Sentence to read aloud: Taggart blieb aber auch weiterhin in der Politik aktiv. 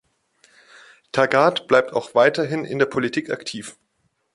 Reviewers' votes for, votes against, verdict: 0, 2, rejected